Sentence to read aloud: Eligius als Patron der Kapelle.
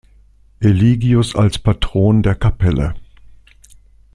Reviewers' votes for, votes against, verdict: 2, 0, accepted